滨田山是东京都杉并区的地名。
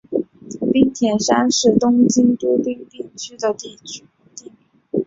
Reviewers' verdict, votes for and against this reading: accepted, 4, 1